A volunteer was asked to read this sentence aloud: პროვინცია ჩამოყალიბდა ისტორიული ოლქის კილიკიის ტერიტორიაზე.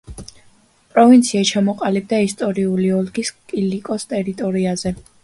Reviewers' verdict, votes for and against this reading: rejected, 0, 3